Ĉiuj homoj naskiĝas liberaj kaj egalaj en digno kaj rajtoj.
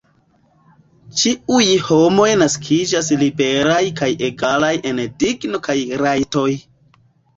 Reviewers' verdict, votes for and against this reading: rejected, 1, 2